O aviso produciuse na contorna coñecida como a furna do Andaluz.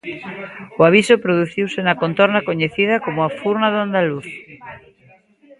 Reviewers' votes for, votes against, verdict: 0, 2, rejected